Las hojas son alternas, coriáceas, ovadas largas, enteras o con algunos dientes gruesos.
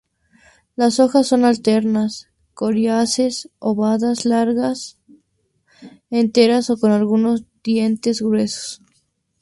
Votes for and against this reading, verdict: 2, 0, accepted